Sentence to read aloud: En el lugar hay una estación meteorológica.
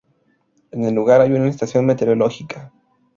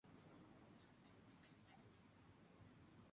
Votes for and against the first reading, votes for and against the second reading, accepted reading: 4, 0, 0, 4, first